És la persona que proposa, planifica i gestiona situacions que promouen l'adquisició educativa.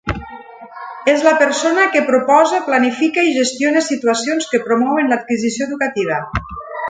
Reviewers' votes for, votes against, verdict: 3, 0, accepted